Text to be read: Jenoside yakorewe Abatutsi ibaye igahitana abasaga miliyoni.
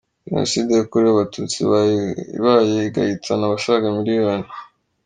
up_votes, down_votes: 2, 0